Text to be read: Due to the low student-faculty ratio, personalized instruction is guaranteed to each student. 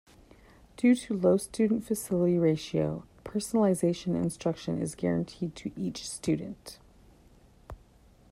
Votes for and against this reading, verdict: 1, 2, rejected